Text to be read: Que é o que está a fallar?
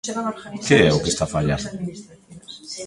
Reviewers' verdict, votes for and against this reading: rejected, 0, 2